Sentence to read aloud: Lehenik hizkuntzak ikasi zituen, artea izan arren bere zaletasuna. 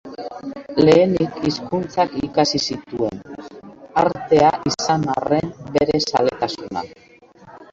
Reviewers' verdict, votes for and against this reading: rejected, 1, 2